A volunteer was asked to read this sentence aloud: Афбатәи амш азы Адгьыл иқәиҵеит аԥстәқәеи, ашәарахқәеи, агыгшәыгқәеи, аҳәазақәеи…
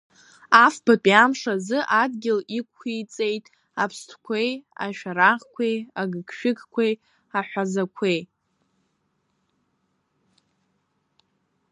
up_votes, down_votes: 2, 1